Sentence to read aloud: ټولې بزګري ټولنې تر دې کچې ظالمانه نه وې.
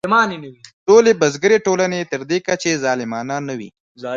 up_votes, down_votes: 1, 2